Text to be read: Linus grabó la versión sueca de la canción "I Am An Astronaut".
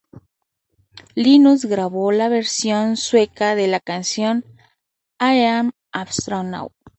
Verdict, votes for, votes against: accepted, 2, 0